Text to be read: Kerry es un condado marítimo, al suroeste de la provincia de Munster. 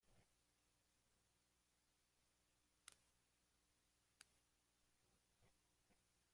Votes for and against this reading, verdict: 0, 2, rejected